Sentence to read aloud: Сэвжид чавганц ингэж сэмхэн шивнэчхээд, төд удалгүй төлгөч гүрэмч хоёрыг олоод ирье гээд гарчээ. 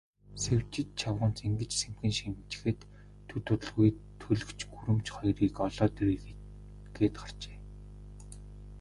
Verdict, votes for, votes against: accepted, 2, 0